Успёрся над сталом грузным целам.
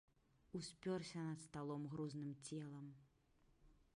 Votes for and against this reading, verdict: 2, 0, accepted